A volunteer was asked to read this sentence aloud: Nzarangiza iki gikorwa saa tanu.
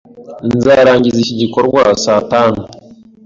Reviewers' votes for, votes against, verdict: 2, 0, accepted